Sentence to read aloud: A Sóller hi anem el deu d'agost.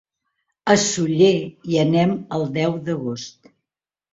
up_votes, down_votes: 1, 2